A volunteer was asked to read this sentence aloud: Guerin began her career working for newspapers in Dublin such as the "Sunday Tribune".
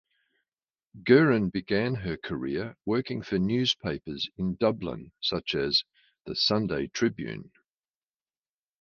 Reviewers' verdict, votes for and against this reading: accepted, 3, 0